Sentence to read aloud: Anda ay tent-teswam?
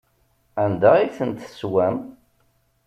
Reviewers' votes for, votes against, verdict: 2, 0, accepted